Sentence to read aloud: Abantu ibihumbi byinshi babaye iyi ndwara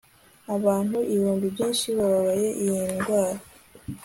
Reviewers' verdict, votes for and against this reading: accepted, 2, 0